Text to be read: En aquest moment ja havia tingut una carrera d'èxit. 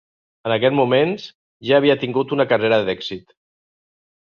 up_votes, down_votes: 0, 2